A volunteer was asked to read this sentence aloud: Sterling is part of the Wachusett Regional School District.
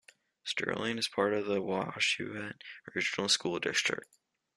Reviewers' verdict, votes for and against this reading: accepted, 2, 0